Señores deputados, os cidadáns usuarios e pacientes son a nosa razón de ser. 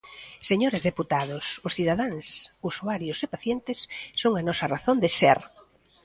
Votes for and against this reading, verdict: 2, 0, accepted